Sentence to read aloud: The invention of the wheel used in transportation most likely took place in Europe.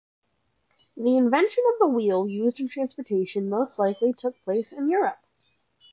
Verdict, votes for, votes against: accepted, 2, 1